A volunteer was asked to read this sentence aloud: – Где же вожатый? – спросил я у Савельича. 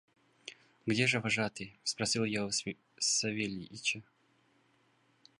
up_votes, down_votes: 1, 2